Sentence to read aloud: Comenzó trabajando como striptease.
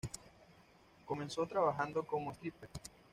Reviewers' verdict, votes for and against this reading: accepted, 2, 0